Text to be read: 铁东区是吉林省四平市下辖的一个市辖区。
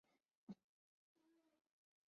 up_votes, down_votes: 1, 2